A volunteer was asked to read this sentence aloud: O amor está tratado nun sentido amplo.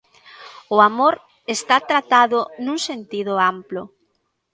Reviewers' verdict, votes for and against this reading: rejected, 1, 2